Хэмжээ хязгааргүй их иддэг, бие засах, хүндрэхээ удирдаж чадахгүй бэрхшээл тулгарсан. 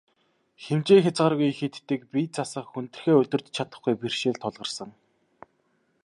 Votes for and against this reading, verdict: 3, 0, accepted